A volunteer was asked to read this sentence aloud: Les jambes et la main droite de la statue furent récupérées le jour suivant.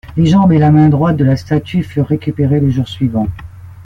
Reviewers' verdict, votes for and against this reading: accepted, 2, 0